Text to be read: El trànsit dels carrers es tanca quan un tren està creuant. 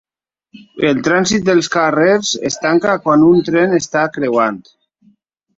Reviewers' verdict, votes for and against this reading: accepted, 6, 0